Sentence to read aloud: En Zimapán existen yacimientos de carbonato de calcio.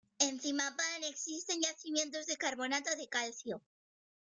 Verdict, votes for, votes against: accepted, 2, 1